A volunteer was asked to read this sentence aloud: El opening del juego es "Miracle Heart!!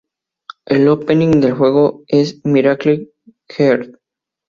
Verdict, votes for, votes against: accepted, 2, 0